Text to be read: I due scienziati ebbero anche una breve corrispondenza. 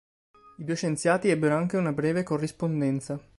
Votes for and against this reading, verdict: 3, 0, accepted